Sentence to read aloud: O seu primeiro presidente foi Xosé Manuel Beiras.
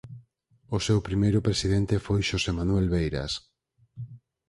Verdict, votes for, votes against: accepted, 4, 0